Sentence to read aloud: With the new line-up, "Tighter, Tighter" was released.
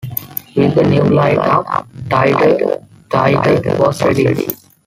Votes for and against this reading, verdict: 0, 2, rejected